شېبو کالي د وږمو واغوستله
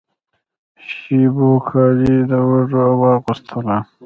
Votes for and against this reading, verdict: 1, 2, rejected